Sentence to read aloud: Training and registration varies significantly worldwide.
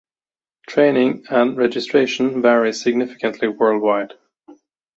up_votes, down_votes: 2, 1